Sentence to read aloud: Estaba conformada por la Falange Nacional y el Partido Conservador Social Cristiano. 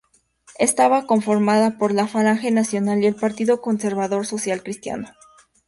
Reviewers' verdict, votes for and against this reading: accepted, 2, 0